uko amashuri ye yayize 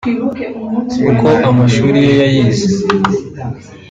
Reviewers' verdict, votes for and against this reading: rejected, 0, 2